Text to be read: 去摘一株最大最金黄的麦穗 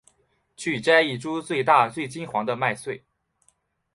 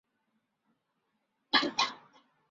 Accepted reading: first